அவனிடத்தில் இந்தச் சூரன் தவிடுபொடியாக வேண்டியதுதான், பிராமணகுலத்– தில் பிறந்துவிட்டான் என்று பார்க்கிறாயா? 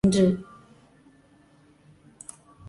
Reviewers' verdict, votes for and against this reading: rejected, 0, 2